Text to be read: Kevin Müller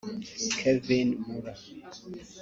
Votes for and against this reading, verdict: 0, 3, rejected